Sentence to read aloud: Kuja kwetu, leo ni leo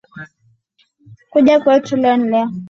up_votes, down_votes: 2, 0